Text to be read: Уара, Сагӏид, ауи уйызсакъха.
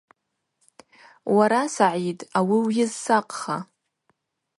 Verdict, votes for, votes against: accepted, 4, 0